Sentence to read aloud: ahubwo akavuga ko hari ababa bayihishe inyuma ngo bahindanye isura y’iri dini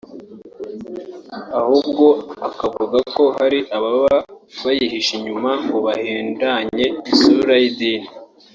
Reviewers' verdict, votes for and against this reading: rejected, 0, 3